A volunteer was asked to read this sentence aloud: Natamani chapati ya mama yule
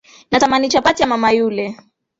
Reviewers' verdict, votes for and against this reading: accepted, 2, 0